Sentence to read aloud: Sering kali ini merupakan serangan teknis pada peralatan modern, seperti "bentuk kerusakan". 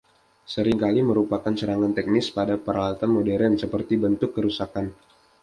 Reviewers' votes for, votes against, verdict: 0, 2, rejected